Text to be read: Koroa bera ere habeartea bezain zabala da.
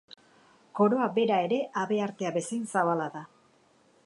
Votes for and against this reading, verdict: 4, 0, accepted